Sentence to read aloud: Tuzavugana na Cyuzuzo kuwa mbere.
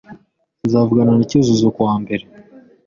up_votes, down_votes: 2, 0